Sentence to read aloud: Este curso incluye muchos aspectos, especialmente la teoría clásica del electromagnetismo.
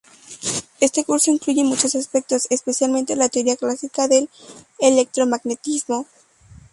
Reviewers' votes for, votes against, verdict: 2, 0, accepted